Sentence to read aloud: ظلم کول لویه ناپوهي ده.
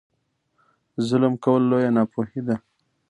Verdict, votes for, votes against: accepted, 2, 0